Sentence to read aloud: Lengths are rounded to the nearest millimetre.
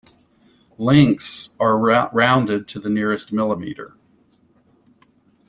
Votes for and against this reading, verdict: 0, 2, rejected